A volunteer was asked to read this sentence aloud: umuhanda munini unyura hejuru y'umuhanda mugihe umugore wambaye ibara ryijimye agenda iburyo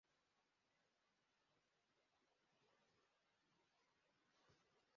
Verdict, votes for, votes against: rejected, 0, 2